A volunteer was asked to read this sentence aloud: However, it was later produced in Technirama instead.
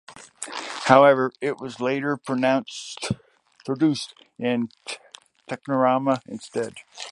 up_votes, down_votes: 2, 0